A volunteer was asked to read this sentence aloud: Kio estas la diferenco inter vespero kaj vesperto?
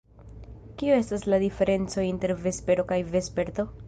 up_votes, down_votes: 2, 1